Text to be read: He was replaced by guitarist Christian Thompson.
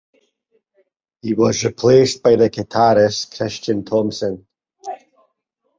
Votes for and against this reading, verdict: 0, 4, rejected